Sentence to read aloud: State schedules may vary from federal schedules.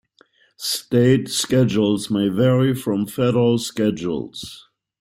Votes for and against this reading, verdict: 2, 0, accepted